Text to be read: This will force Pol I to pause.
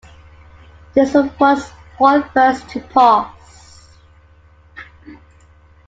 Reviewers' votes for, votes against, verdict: 0, 2, rejected